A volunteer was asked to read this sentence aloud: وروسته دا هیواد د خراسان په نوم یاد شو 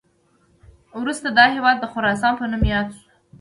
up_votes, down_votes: 2, 0